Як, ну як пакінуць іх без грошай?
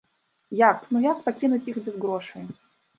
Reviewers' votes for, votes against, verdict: 1, 2, rejected